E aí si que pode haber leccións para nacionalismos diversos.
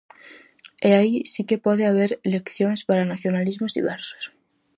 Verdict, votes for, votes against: accepted, 4, 0